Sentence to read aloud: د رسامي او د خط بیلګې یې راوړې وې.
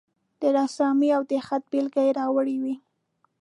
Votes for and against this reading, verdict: 1, 2, rejected